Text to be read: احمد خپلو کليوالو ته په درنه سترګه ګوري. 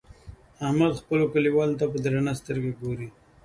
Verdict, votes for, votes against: accepted, 2, 0